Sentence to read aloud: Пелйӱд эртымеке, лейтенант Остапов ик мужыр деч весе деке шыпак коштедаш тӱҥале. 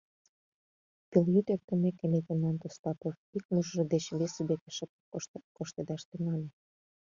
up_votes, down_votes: 0, 2